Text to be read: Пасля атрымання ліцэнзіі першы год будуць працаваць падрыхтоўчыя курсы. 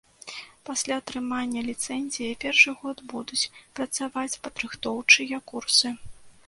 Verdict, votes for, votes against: accepted, 2, 0